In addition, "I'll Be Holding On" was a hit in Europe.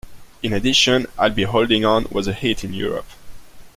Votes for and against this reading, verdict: 2, 1, accepted